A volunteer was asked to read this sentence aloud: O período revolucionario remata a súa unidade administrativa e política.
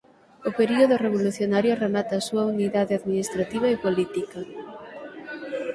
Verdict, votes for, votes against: accepted, 6, 0